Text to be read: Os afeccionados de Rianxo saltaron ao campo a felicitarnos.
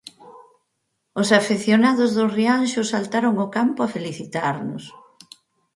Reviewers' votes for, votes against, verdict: 2, 4, rejected